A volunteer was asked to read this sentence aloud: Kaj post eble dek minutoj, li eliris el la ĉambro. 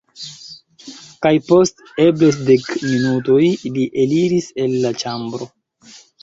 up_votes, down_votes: 2, 0